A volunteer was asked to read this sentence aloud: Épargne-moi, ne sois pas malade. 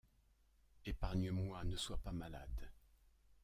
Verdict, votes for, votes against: rejected, 1, 2